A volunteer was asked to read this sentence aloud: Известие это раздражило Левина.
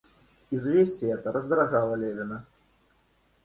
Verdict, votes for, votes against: rejected, 1, 2